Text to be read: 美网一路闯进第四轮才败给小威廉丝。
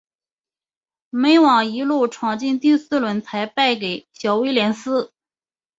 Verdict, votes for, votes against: accepted, 3, 0